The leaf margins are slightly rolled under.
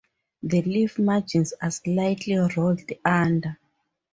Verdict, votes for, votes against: rejected, 2, 2